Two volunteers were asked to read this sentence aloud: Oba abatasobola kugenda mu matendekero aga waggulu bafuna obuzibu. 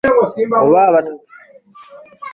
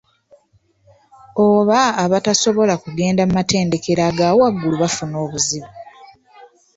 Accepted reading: second